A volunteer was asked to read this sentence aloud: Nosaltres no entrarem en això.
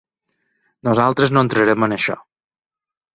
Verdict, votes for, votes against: accepted, 4, 0